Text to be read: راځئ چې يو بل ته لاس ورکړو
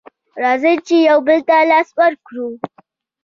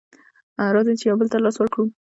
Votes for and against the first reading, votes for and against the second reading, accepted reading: 2, 0, 0, 2, first